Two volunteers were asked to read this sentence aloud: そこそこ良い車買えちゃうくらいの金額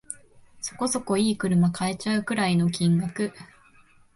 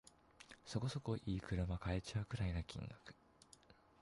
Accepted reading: first